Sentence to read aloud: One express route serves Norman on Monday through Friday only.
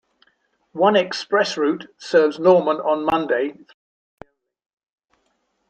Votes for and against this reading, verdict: 1, 2, rejected